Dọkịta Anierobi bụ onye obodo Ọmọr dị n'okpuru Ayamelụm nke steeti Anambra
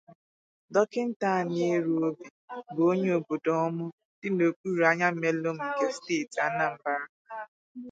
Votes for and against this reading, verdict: 0, 2, rejected